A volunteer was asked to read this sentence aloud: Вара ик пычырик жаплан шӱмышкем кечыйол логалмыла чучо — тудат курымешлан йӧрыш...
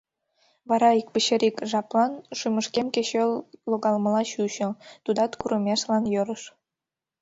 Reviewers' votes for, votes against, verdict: 1, 2, rejected